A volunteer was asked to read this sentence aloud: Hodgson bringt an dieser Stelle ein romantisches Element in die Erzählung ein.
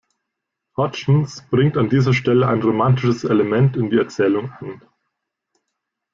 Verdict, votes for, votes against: rejected, 1, 2